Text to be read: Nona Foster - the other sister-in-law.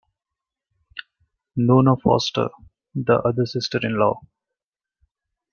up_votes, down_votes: 2, 0